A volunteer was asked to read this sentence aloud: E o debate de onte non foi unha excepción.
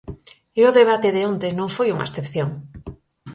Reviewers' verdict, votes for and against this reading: accepted, 4, 0